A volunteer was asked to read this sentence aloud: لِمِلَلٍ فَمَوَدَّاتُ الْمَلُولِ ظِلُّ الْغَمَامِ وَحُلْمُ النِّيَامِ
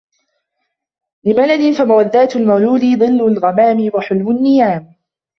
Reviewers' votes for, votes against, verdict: 0, 2, rejected